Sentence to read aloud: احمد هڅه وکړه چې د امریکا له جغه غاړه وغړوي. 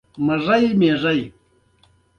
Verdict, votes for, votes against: rejected, 0, 2